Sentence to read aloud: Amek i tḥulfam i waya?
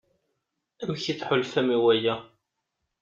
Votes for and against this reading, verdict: 2, 0, accepted